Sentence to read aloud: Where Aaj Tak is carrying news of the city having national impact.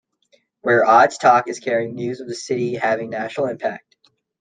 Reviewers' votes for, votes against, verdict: 2, 0, accepted